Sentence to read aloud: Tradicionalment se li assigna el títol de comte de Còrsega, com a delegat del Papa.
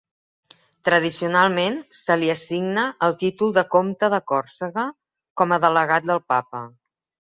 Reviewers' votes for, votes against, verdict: 3, 0, accepted